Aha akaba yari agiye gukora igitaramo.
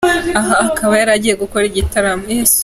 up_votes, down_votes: 3, 1